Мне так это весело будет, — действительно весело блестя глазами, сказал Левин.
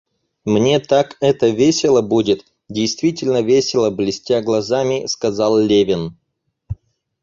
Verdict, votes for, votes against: accepted, 4, 0